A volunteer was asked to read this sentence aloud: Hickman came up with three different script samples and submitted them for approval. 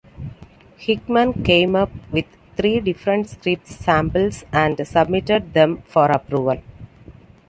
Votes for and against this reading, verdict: 2, 0, accepted